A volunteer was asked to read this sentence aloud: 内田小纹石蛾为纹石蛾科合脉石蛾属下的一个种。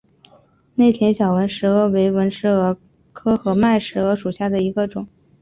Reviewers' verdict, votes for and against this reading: accepted, 2, 0